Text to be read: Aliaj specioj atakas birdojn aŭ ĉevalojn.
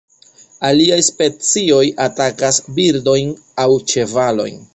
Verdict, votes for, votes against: accepted, 2, 0